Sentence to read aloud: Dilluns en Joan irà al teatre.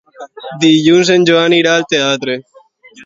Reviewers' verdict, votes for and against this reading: accepted, 3, 0